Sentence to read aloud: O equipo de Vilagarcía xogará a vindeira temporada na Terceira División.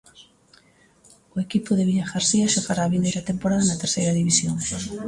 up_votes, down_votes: 0, 2